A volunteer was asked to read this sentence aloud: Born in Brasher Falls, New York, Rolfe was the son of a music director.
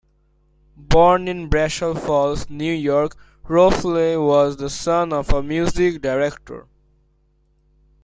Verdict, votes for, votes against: rejected, 1, 2